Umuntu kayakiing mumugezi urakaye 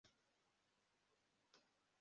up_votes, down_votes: 0, 2